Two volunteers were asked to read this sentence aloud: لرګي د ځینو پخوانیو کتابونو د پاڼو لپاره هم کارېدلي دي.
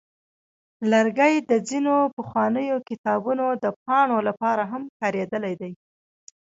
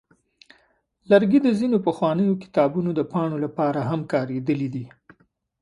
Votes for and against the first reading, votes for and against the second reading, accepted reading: 1, 2, 2, 0, second